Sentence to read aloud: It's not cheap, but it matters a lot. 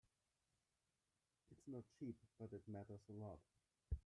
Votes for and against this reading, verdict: 0, 2, rejected